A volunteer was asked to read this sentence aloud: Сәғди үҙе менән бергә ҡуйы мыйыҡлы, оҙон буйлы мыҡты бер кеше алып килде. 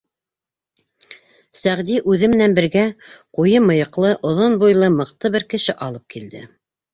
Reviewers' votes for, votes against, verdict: 3, 0, accepted